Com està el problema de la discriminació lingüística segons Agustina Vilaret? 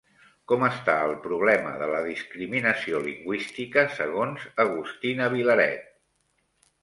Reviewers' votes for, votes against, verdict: 3, 0, accepted